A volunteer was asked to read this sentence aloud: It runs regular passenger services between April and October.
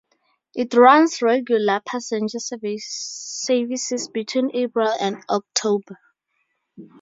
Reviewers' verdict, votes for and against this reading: rejected, 0, 2